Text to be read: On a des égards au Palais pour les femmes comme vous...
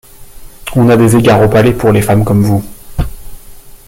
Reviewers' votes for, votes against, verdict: 2, 1, accepted